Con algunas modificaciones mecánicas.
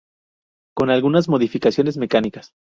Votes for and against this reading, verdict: 0, 2, rejected